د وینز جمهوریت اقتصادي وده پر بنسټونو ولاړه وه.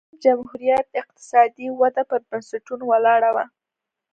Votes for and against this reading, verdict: 2, 0, accepted